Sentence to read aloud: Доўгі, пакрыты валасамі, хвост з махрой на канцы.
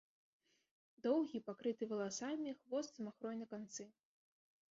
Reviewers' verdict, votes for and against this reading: rejected, 1, 2